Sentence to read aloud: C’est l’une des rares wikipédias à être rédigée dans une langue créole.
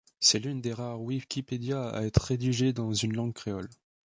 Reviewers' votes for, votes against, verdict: 1, 2, rejected